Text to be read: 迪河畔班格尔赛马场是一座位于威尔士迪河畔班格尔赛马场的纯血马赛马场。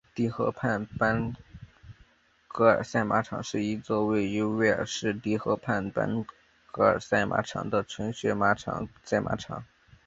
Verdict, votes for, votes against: rejected, 2, 3